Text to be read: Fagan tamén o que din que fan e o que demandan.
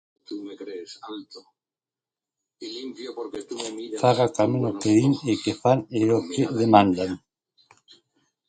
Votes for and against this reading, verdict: 0, 2, rejected